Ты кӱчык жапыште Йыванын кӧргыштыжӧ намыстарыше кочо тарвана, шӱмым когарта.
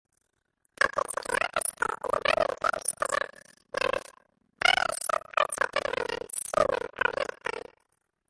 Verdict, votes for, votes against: rejected, 0, 2